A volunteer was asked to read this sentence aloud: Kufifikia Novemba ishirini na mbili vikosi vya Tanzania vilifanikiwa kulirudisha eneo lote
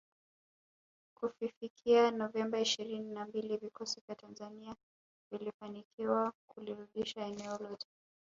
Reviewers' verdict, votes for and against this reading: rejected, 0, 2